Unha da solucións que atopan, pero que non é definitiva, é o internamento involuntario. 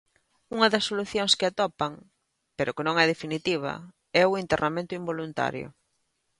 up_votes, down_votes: 2, 0